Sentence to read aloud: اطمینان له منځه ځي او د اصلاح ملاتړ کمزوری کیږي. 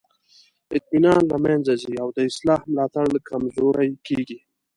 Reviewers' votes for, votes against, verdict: 2, 0, accepted